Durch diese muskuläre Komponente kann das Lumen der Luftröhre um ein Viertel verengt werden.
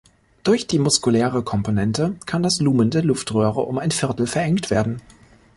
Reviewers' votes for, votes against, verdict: 1, 2, rejected